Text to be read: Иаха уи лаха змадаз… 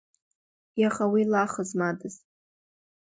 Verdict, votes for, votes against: accepted, 2, 0